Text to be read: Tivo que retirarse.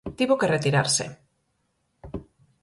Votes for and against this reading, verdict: 4, 0, accepted